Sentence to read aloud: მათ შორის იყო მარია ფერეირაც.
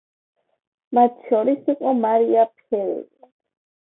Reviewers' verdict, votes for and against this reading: accepted, 2, 0